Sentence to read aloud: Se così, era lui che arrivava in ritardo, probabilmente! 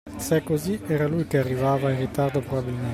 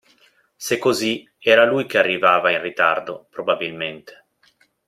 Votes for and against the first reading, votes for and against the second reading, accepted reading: 1, 2, 2, 0, second